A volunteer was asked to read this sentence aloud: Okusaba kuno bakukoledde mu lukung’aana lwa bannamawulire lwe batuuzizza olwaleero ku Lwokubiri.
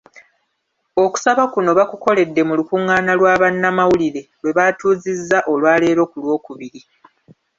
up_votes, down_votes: 2, 1